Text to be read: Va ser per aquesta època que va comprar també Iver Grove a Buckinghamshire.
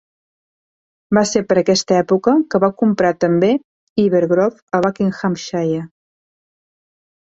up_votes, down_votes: 2, 0